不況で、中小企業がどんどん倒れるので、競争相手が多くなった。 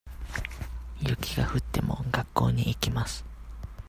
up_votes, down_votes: 0, 2